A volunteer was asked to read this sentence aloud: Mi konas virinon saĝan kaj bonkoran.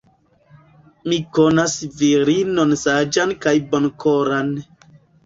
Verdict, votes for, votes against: rejected, 0, 2